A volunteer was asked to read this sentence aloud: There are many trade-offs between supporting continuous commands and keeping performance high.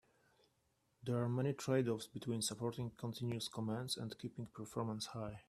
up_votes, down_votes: 3, 0